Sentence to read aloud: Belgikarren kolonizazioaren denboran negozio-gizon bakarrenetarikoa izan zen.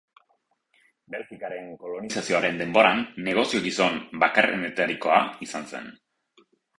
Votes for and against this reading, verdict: 2, 0, accepted